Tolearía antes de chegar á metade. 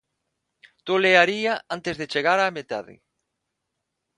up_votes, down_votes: 6, 0